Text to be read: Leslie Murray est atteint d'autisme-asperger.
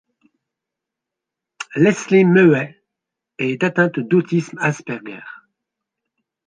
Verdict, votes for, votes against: accepted, 2, 1